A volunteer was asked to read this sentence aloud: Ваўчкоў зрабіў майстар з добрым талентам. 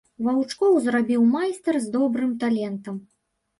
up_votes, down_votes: 1, 2